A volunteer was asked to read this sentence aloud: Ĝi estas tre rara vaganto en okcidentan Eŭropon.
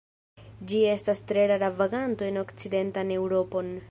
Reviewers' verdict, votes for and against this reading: rejected, 1, 2